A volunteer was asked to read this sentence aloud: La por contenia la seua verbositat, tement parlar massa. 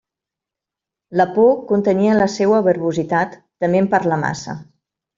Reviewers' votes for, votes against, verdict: 2, 0, accepted